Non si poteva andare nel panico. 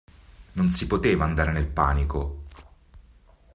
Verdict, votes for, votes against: accepted, 2, 0